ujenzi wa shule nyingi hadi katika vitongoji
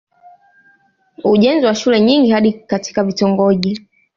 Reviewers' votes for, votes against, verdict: 2, 1, accepted